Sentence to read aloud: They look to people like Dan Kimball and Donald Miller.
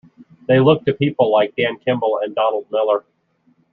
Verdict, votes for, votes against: accepted, 2, 0